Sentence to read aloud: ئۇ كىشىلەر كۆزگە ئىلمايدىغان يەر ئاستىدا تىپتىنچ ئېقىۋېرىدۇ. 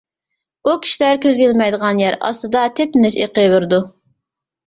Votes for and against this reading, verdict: 0, 2, rejected